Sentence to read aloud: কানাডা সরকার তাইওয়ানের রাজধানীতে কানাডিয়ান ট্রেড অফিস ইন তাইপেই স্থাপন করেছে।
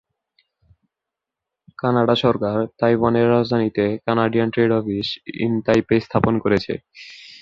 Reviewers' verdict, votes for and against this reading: rejected, 2, 3